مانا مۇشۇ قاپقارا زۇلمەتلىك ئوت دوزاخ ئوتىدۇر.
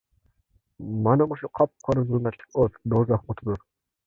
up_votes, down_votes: 0, 2